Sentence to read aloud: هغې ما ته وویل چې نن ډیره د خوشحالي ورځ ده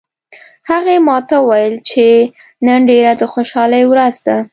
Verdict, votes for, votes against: accepted, 2, 0